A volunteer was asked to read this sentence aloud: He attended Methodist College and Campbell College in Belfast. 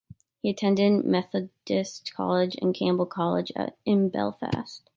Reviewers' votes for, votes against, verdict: 0, 2, rejected